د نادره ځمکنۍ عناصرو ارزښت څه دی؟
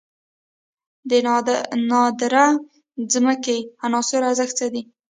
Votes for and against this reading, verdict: 1, 2, rejected